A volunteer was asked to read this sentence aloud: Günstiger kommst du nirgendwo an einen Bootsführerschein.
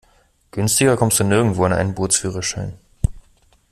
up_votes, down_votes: 2, 0